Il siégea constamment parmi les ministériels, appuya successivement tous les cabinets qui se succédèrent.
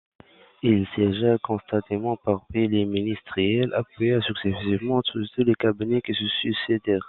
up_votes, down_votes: 0, 2